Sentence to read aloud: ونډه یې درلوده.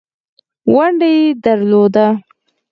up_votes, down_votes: 4, 0